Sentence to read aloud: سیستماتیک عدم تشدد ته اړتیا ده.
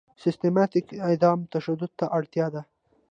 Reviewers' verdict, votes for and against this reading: accepted, 2, 0